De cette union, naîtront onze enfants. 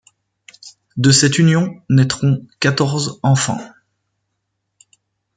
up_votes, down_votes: 0, 2